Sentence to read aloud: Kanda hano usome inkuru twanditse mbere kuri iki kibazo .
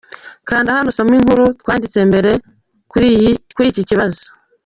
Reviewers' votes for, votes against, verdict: 0, 2, rejected